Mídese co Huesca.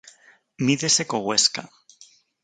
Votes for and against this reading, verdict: 4, 0, accepted